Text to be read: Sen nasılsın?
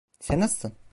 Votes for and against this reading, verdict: 0, 2, rejected